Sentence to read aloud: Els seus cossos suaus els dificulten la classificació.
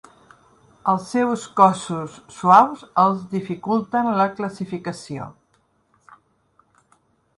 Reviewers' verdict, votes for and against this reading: accepted, 3, 0